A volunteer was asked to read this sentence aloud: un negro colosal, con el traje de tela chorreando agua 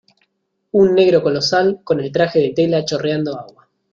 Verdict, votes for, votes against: accepted, 2, 0